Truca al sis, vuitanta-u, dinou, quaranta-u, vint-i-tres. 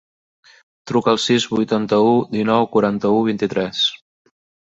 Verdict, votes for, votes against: accepted, 3, 0